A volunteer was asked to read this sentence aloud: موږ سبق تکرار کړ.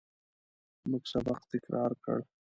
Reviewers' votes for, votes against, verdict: 2, 0, accepted